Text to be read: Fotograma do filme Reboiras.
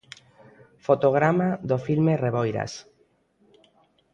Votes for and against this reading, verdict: 2, 0, accepted